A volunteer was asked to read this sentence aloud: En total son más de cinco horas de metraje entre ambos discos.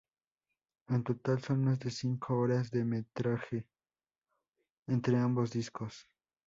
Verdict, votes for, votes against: accepted, 2, 0